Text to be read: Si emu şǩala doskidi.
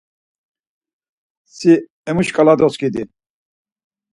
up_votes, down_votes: 4, 0